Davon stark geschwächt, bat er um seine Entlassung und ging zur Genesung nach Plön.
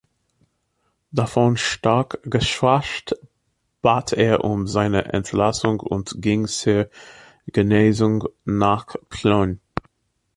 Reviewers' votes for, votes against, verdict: 0, 2, rejected